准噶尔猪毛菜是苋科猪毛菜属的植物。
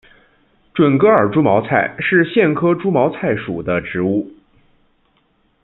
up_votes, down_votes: 2, 1